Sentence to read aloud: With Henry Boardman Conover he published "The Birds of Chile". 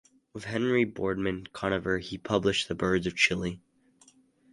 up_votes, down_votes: 4, 0